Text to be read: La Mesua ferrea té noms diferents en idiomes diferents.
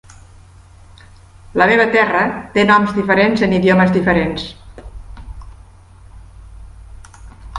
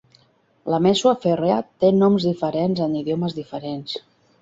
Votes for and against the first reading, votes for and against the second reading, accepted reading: 1, 2, 2, 0, second